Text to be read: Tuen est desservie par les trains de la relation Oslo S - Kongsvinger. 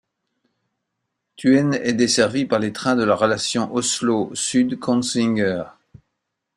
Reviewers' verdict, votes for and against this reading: rejected, 0, 2